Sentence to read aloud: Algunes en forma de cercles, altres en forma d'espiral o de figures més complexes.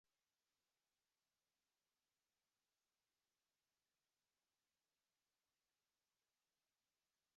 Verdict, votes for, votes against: rejected, 1, 3